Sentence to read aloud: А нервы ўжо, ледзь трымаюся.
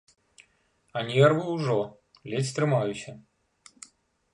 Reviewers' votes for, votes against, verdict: 2, 0, accepted